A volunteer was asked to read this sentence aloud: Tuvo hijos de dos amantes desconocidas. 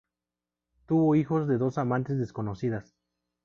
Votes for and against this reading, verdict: 2, 0, accepted